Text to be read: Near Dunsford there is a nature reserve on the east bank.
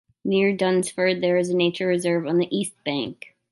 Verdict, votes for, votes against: accepted, 2, 0